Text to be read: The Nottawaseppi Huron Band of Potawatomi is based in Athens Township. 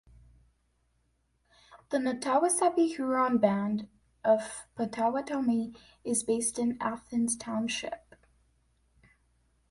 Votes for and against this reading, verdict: 1, 2, rejected